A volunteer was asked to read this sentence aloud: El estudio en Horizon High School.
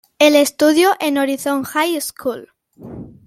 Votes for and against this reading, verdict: 2, 0, accepted